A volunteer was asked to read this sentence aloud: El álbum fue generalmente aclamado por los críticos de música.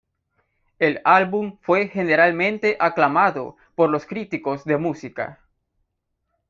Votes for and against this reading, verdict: 2, 0, accepted